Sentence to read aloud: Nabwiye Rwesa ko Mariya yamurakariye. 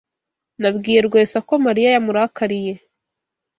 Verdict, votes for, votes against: accepted, 2, 0